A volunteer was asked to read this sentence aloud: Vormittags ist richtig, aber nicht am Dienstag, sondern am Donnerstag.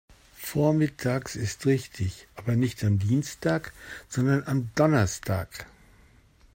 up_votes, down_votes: 2, 0